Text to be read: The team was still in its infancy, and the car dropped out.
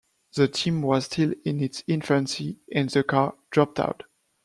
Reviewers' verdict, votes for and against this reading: accepted, 2, 0